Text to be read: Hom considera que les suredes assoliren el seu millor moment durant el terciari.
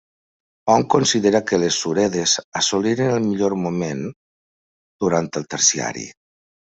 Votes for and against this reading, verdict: 0, 2, rejected